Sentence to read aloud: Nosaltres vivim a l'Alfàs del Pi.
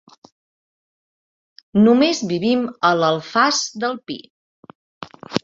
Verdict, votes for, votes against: rejected, 0, 2